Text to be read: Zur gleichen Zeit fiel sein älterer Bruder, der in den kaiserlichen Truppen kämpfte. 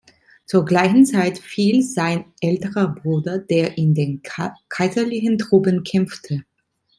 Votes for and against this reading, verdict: 0, 2, rejected